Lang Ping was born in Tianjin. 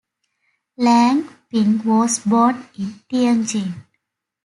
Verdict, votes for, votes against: accepted, 2, 0